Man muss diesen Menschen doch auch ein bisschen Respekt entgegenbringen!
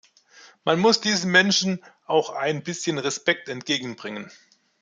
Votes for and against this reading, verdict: 0, 2, rejected